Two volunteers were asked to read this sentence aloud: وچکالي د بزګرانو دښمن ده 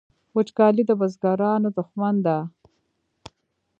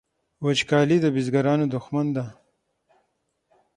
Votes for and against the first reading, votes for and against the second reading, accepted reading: 1, 2, 6, 0, second